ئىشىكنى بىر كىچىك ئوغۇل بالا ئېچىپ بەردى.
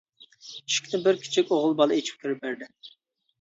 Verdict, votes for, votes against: rejected, 0, 2